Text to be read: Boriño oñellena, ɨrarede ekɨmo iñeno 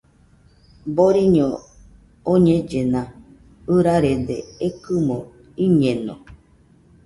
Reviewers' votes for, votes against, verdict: 2, 0, accepted